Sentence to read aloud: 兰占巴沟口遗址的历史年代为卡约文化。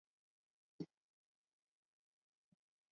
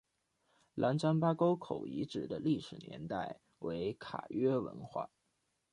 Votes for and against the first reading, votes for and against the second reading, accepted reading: 0, 2, 2, 0, second